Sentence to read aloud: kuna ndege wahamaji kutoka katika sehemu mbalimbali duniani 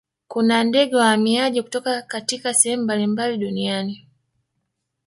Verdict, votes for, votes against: rejected, 1, 2